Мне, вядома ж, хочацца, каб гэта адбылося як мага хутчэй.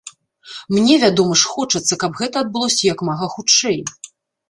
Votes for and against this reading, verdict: 2, 1, accepted